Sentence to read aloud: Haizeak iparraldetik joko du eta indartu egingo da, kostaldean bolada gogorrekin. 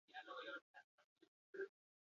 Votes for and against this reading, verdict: 0, 4, rejected